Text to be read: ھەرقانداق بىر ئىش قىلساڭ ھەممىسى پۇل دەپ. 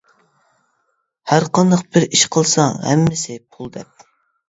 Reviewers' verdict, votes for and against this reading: accepted, 2, 0